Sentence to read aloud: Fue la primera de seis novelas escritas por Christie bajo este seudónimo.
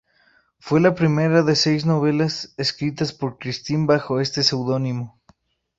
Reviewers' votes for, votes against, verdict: 2, 2, rejected